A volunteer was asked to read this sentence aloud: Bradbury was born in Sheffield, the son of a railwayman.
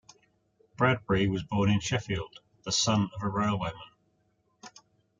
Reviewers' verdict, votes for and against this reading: accepted, 2, 0